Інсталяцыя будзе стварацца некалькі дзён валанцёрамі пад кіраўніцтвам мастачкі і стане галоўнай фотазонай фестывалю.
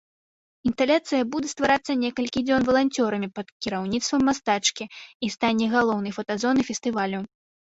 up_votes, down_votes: 0, 2